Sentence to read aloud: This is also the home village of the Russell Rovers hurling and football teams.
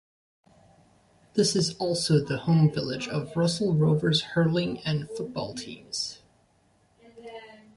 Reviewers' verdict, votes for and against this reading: rejected, 0, 2